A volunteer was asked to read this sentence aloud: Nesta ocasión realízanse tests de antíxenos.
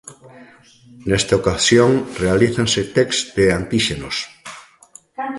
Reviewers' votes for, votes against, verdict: 1, 2, rejected